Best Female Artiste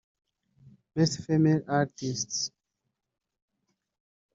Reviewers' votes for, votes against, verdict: 1, 2, rejected